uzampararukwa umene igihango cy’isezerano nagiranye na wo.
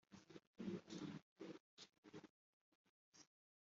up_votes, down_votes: 0, 3